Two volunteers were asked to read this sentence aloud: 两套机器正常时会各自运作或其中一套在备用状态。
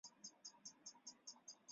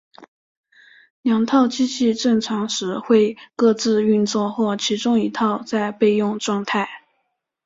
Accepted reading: second